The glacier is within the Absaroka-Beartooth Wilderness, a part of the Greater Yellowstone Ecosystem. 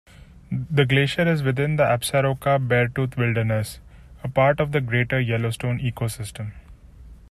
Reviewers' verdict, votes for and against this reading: accepted, 2, 0